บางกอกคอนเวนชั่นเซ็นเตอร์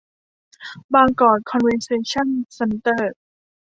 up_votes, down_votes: 0, 2